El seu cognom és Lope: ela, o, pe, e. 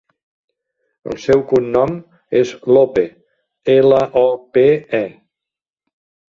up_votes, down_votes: 2, 0